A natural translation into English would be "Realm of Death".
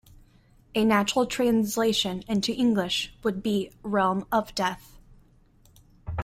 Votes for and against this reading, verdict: 1, 2, rejected